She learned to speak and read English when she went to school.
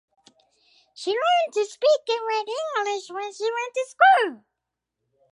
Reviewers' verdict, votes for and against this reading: accepted, 4, 2